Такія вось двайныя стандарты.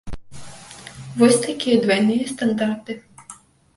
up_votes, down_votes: 0, 2